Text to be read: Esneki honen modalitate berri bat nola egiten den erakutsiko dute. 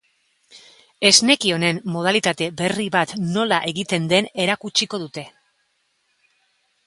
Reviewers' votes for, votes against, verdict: 3, 0, accepted